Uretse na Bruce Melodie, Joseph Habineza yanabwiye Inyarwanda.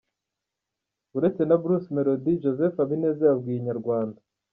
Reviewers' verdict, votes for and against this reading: rejected, 1, 2